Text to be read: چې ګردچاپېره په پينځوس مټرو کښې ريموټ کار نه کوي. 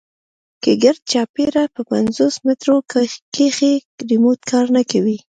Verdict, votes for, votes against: rejected, 0, 2